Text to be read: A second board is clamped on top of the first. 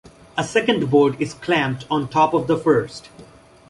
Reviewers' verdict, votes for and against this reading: accepted, 2, 0